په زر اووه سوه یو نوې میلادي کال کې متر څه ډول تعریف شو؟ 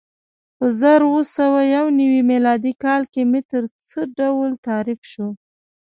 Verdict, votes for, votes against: accepted, 2, 0